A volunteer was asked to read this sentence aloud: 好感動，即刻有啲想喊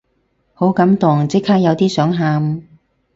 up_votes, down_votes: 4, 0